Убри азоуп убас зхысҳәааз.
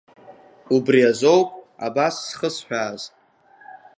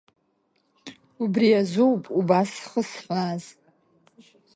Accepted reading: second